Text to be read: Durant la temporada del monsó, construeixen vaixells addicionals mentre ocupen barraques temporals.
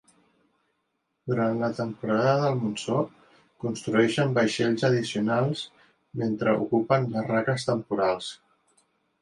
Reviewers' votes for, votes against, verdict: 4, 0, accepted